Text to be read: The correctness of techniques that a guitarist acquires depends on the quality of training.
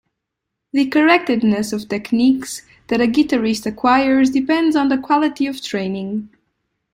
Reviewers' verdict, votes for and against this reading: rejected, 1, 2